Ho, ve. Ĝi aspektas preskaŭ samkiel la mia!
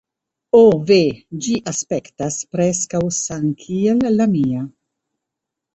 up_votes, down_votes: 0, 2